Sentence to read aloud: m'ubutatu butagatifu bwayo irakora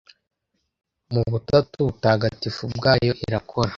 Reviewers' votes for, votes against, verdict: 2, 0, accepted